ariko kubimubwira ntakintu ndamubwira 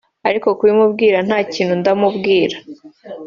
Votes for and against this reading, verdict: 2, 0, accepted